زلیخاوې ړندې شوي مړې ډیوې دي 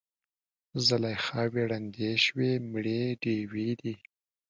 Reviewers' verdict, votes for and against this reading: accepted, 2, 0